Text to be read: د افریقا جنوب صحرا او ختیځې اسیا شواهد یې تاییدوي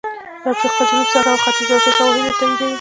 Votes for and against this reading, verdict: 1, 2, rejected